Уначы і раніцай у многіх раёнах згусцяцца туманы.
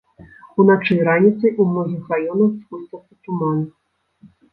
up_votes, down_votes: 1, 2